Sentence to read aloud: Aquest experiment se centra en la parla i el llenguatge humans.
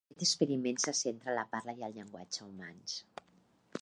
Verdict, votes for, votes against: rejected, 0, 2